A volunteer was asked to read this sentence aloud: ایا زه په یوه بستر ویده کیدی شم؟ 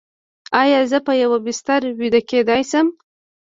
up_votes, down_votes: 1, 2